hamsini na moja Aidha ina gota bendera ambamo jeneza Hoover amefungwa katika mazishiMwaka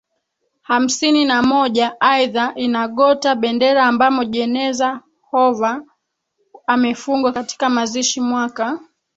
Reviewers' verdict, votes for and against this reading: accepted, 3, 1